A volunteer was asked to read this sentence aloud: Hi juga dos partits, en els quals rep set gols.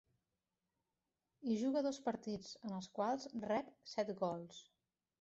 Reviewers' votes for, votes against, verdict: 1, 2, rejected